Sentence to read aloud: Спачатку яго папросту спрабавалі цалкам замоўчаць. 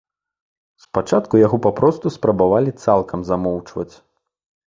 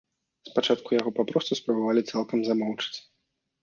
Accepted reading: first